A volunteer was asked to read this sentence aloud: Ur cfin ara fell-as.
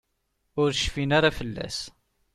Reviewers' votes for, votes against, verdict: 2, 0, accepted